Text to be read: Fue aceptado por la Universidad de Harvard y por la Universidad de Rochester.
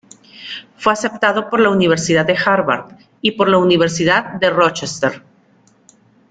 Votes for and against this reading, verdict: 2, 0, accepted